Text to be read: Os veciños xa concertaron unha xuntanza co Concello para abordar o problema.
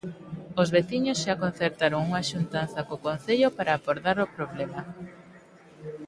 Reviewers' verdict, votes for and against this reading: accepted, 2, 0